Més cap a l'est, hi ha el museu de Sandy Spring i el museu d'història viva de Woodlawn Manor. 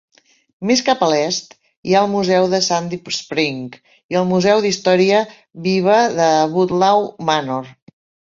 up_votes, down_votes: 2, 1